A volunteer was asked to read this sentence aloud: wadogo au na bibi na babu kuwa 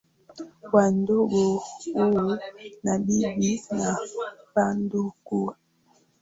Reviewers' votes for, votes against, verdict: 0, 3, rejected